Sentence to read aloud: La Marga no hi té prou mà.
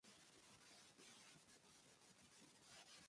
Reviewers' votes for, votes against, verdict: 0, 2, rejected